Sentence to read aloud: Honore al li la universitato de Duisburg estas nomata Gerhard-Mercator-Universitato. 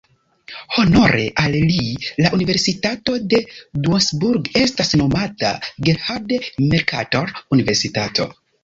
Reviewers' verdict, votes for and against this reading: rejected, 0, 2